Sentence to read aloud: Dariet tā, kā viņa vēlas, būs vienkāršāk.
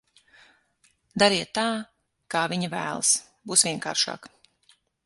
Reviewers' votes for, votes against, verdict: 6, 3, accepted